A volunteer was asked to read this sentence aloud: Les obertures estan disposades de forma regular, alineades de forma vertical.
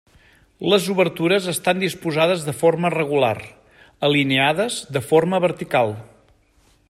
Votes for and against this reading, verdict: 3, 0, accepted